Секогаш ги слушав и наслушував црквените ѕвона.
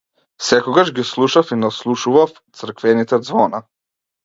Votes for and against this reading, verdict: 2, 0, accepted